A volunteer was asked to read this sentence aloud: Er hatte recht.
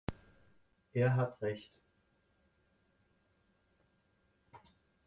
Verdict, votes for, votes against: rejected, 0, 4